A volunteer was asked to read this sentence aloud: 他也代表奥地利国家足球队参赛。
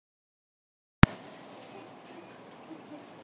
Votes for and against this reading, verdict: 0, 2, rejected